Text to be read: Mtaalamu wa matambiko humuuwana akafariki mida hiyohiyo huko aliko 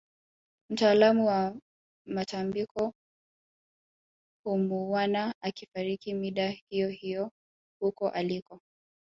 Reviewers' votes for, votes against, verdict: 1, 2, rejected